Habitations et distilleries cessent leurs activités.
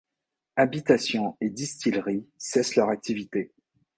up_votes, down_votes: 2, 0